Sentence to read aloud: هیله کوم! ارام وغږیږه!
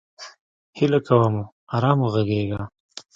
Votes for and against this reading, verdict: 0, 2, rejected